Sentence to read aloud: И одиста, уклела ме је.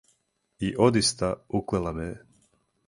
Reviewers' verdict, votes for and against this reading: accepted, 4, 0